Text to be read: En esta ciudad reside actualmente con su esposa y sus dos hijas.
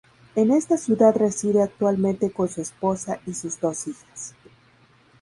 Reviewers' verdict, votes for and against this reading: rejected, 2, 2